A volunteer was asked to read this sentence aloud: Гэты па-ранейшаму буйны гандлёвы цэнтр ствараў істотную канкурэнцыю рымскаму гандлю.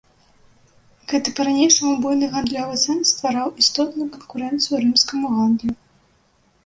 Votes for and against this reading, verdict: 1, 2, rejected